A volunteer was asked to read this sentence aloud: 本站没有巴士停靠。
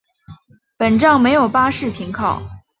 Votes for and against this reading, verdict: 2, 0, accepted